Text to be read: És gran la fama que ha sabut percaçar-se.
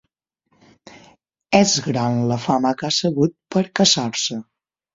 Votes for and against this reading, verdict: 6, 0, accepted